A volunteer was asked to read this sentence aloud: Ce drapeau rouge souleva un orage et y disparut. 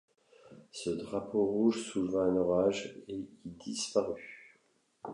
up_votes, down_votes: 2, 0